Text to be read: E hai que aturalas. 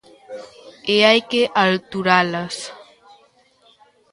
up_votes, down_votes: 0, 2